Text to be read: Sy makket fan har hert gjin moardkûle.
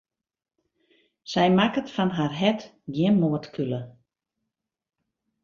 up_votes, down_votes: 1, 2